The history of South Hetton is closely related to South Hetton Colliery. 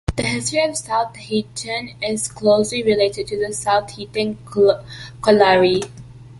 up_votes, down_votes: 0, 2